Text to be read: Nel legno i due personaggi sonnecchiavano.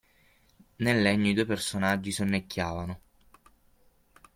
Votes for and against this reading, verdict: 6, 0, accepted